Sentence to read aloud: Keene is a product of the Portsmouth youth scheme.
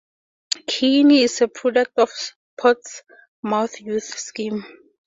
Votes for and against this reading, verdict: 4, 2, accepted